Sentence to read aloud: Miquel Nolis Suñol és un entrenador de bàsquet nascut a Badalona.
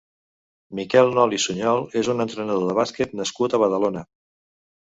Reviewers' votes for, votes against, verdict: 2, 0, accepted